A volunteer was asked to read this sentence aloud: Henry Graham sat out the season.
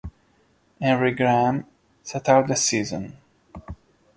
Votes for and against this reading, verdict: 2, 0, accepted